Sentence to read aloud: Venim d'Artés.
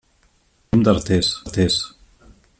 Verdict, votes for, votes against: rejected, 0, 2